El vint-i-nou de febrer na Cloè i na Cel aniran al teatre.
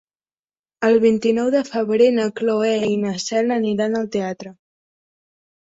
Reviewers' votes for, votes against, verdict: 3, 0, accepted